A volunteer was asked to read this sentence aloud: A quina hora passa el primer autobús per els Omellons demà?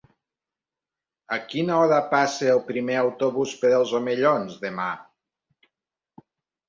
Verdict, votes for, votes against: accepted, 3, 0